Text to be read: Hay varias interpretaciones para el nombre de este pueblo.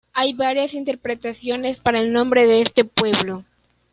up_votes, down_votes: 2, 0